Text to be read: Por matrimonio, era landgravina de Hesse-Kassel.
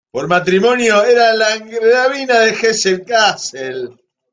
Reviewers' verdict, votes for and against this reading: rejected, 0, 2